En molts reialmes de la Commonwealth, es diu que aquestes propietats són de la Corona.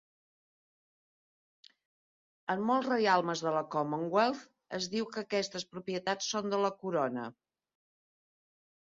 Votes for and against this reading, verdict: 3, 0, accepted